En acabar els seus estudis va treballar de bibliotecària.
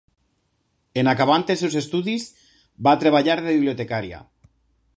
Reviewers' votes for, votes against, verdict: 1, 2, rejected